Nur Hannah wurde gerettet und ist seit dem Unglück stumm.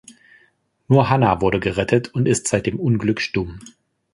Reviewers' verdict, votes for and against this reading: accepted, 2, 0